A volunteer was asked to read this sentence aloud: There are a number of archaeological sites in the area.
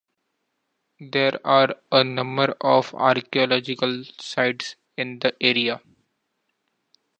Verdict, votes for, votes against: accepted, 2, 0